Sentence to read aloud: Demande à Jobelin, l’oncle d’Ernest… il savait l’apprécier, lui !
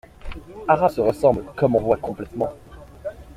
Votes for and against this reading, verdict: 0, 2, rejected